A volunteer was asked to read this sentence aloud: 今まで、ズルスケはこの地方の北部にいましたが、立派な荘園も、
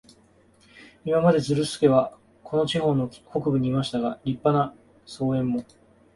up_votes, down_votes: 2, 0